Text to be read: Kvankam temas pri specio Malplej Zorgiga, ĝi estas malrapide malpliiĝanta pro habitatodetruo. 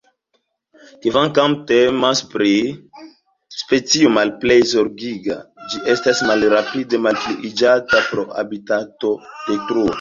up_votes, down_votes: 2, 0